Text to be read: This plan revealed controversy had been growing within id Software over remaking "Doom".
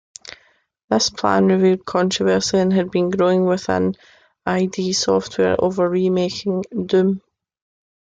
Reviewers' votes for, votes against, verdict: 2, 1, accepted